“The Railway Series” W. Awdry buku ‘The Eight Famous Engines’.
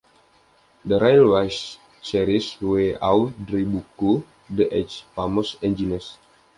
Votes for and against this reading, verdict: 1, 2, rejected